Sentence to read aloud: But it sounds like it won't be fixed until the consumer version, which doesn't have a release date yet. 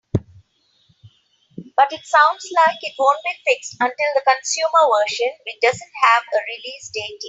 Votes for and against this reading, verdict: 0, 3, rejected